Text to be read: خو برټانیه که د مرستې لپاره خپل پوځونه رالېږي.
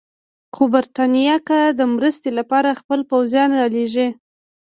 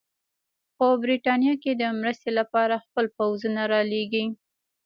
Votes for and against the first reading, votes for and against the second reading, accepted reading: 3, 0, 1, 2, first